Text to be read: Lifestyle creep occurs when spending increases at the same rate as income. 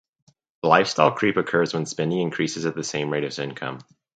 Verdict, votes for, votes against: accepted, 4, 0